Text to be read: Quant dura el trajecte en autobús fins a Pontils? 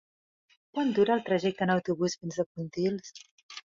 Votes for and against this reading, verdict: 1, 2, rejected